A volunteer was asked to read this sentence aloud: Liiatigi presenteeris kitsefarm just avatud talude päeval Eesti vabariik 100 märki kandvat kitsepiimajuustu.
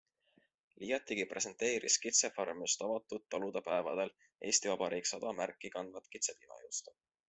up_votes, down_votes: 0, 2